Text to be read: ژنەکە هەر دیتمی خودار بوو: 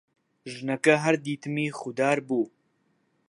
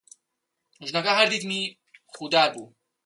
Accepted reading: first